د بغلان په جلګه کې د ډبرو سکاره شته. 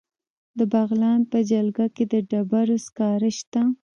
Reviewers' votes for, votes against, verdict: 1, 2, rejected